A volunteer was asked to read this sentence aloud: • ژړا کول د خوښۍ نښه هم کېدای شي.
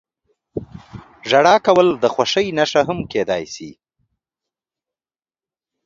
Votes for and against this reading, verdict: 0, 2, rejected